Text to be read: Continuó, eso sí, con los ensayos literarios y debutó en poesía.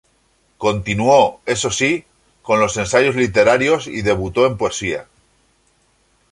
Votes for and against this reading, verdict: 2, 0, accepted